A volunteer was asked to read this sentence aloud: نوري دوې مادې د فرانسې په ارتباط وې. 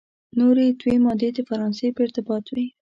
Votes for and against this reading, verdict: 3, 0, accepted